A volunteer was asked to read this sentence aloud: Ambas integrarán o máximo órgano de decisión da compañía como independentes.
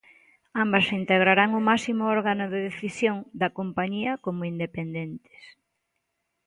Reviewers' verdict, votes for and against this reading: accepted, 2, 0